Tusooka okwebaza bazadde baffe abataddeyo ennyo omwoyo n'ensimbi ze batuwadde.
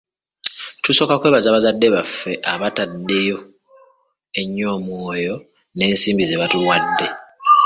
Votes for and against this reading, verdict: 1, 2, rejected